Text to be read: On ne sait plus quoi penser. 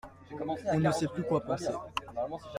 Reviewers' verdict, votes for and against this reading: rejected, 1, 2